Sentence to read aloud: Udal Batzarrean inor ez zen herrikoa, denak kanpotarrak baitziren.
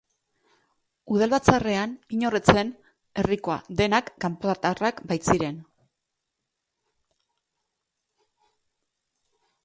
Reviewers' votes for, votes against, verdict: 0, 2, rejected